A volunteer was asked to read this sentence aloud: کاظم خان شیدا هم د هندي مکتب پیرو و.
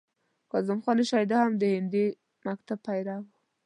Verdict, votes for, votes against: rejected, 1, 2